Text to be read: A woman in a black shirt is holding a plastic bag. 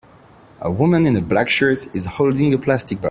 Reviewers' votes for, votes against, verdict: 0, 2, rejected